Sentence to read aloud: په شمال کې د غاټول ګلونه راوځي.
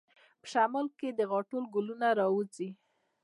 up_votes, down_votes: 2, 0